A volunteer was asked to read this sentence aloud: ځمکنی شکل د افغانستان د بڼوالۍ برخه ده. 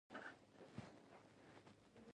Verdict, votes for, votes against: rejected, 1, 2